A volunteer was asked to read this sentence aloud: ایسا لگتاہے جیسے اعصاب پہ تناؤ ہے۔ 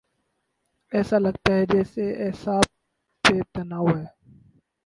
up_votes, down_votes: 4, 0